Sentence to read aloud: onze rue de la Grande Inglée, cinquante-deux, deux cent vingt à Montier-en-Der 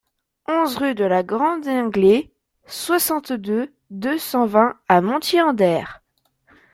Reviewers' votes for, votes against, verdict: 2, 1, accepted